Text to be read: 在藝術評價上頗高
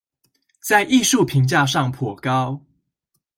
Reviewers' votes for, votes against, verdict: 2, 0, accepted